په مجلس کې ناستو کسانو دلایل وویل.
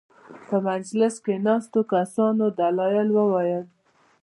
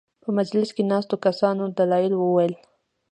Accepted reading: second